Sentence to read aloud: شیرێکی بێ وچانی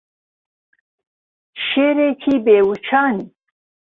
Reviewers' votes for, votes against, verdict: 0, 2, rejected